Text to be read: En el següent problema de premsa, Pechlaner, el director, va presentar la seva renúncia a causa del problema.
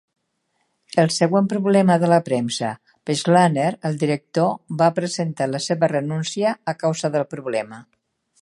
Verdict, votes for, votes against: rejected, 1, 3